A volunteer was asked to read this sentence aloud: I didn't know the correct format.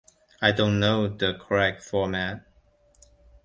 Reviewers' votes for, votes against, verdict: 1, 2, rejected